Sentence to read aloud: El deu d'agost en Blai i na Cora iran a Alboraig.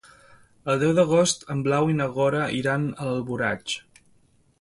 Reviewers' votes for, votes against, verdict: 0, 2, rejected